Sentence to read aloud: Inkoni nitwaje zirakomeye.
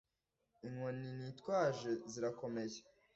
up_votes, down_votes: 2, 1